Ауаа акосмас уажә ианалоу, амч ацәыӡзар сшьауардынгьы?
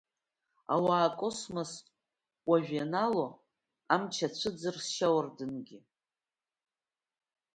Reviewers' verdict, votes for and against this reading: accepted, 2, 0